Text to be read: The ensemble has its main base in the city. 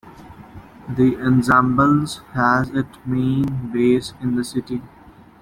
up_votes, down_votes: 0, 2